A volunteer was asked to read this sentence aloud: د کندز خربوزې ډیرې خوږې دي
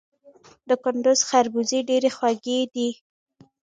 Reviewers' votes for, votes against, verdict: 2, 0, accepted